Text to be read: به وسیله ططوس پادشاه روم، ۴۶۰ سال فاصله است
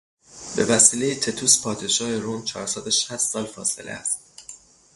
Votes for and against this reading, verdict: 0, 2, rejected